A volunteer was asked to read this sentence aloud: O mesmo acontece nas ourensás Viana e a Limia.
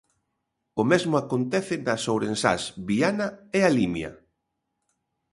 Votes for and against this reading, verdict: 2, 1, accepted